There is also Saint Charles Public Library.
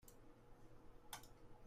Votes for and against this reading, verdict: 0, 2, rejected